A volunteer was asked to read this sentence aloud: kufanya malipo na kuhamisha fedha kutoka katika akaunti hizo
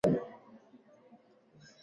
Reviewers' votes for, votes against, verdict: 0, 2, rejected